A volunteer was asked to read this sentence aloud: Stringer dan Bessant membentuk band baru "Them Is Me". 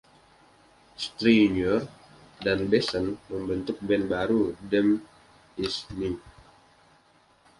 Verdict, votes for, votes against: accepted, 2, 0